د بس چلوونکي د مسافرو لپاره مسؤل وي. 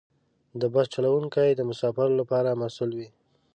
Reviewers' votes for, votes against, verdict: 1, 2, rejected